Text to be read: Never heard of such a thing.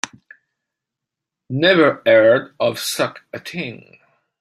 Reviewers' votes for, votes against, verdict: 0, 2, rejected